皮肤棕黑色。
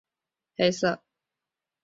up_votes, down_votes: 0, 2